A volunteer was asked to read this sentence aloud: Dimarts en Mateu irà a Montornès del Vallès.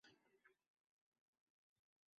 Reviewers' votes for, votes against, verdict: 0, 3, rejected